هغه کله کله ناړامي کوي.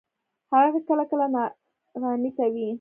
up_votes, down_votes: 2, 1